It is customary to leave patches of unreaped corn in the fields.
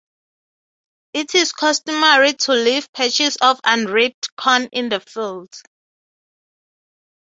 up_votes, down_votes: 6, 0